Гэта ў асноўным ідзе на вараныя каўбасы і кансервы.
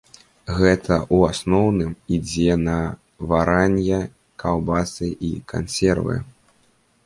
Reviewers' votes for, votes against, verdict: 1, 2, rejected